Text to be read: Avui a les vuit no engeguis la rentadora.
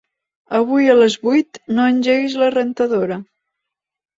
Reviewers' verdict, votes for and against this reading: accepted, 3, 0